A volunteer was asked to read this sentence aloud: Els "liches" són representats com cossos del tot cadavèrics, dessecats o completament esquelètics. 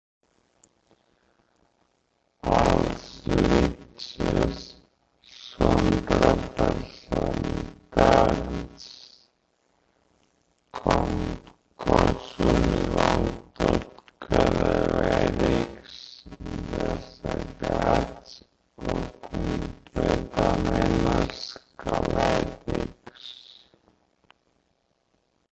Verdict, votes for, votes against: rejected, 0, 2